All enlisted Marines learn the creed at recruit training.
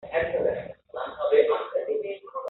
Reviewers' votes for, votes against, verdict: 0, 2, rejected